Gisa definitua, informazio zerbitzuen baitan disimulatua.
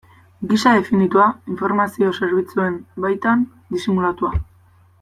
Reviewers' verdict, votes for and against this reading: accepted, 2, 0